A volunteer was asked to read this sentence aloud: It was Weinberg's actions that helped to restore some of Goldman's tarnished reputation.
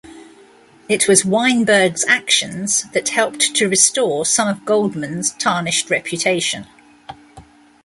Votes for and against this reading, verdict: 2, 0, accepted